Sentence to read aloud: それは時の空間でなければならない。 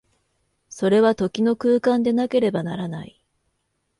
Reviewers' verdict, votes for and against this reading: accepted, 2, 0